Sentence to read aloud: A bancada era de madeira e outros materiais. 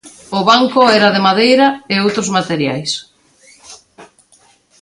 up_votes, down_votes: 0, 2